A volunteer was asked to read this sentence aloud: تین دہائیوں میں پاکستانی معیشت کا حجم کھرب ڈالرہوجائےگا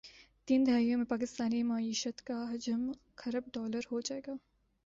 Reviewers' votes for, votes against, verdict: 3, 1, accepted